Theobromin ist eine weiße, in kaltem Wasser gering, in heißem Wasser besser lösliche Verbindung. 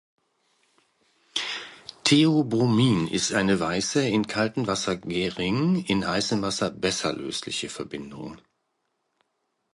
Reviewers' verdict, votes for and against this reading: rejected, 1, 2